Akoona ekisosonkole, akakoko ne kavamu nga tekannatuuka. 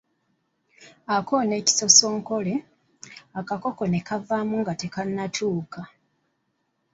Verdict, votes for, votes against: accepted, 2, 0